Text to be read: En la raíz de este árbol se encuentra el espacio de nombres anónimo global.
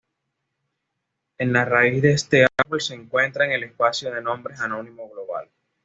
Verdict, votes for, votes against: accepted, 2, 1